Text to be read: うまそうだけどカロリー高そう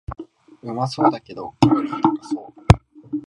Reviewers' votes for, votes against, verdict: 2, 1, accepted